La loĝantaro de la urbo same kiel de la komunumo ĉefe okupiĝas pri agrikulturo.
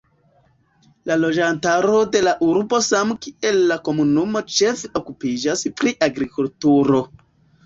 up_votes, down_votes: 0, 2